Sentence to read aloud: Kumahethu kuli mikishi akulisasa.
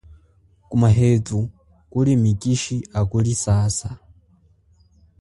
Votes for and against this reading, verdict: 2, 0, accepted